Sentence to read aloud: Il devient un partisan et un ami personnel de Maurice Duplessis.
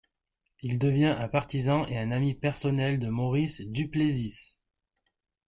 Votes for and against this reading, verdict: 1, 2, rejected